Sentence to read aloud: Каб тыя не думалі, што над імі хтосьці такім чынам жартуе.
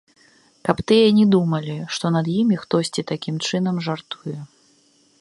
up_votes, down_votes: 2, 0